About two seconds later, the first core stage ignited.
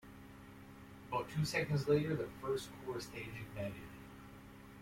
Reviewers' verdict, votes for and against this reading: accepted, 2, 0